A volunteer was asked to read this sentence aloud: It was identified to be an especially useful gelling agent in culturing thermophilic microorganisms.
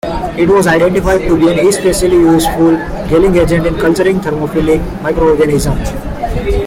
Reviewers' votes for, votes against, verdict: 1, 2, rejected